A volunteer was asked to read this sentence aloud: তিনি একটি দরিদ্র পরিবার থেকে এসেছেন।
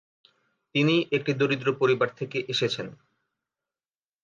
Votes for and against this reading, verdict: 2, 0, accepted